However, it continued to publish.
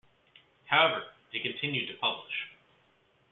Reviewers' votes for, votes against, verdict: 2, 0, accepted